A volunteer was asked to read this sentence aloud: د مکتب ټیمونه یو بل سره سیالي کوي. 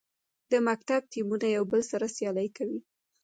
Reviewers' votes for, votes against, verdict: 2, 1, accepted